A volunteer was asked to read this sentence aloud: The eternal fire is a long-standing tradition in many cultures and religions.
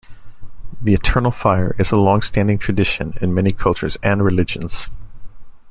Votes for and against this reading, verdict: 2, 0, accepted